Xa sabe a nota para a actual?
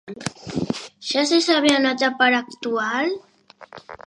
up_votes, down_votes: 0, 2